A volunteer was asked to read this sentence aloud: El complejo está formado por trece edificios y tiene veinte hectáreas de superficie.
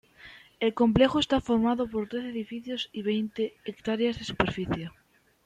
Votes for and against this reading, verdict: 1, 2, rejected